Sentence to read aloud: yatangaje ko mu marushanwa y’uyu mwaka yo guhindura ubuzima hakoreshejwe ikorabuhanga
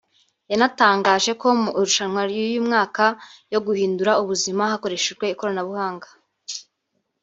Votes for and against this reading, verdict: 2, 1, accepted